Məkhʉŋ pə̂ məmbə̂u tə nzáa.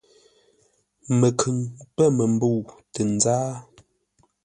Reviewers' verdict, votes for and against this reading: accepted, 2, 0